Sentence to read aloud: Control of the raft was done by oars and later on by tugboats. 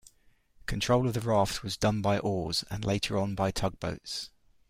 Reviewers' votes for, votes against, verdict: 2, 0, accepted